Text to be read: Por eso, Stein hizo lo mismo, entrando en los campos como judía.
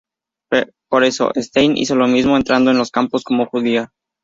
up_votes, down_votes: 0, 2